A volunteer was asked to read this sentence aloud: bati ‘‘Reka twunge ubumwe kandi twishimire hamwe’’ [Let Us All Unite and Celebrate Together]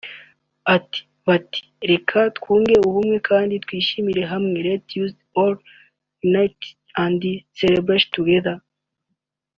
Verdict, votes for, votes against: rejected, 0, 2